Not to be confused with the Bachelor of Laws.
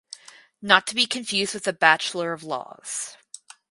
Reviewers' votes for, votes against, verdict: 2, 2, rejected